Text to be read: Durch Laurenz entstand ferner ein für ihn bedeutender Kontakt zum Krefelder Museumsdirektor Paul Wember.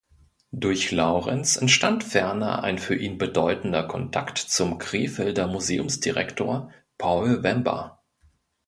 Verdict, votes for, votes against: accepted, 2, 0